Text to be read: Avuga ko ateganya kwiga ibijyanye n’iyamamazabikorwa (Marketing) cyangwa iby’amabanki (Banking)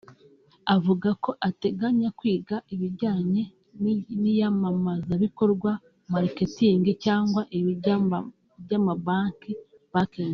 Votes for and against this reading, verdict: 0, 2, rejected